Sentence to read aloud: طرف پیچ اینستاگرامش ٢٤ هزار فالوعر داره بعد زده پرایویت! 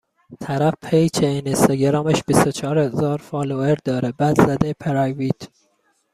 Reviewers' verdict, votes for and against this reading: rejected, 0, 2